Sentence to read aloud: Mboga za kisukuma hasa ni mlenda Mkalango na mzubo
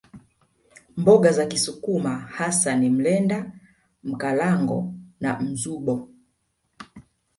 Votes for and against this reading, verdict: 2, 0, accepted